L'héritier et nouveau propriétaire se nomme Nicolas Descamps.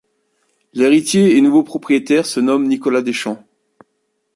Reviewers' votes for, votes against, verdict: 0, 2, rejected